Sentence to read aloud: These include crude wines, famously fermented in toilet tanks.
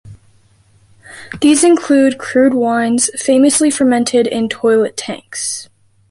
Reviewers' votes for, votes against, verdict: 2, 0, accepted